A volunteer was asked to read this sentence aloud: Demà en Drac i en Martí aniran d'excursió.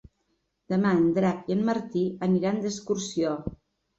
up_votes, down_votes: 3, 0